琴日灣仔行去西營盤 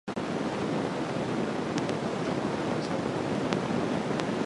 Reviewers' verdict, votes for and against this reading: rejected, 0, 2